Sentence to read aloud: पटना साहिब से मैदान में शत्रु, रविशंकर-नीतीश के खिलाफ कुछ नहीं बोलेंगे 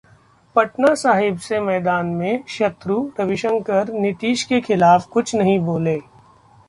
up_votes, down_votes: 0, 2